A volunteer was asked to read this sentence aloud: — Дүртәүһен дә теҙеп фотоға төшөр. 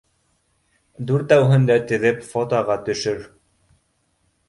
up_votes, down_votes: 2, 0